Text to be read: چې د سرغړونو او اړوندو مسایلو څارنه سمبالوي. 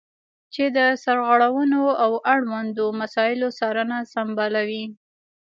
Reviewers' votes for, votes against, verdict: 1, 2, rejected